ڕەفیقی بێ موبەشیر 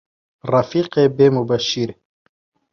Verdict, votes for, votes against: rejected, 0, 2